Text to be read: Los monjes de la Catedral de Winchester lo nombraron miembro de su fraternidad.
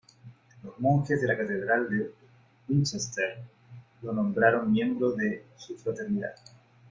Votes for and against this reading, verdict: 2, 0, accepted